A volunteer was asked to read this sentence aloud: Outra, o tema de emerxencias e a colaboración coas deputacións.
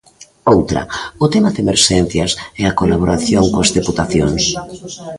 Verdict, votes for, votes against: accepted, 2, 1